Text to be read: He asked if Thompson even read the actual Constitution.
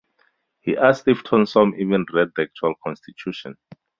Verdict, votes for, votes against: rejected, 2, 2